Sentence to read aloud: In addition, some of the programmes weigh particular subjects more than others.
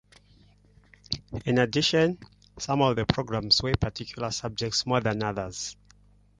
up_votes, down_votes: 2, 1